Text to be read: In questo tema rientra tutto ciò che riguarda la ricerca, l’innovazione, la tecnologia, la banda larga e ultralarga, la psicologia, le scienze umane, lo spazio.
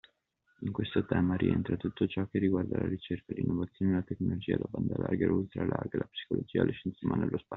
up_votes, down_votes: 2, 0